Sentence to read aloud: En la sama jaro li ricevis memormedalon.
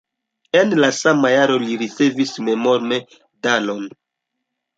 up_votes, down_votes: 2, 1